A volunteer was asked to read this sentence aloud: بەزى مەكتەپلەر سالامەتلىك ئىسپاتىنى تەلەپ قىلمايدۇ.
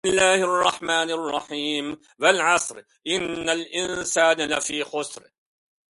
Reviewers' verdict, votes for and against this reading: rejected, 0, 2